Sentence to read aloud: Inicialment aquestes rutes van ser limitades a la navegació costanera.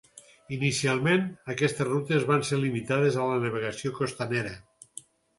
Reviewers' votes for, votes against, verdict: 4, 0, accepted